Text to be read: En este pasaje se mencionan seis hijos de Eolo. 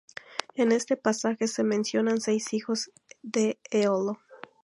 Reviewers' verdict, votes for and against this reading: accepted, 2, 0